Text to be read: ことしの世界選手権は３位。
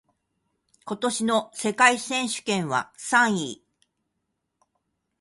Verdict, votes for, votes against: rejected, 0, 2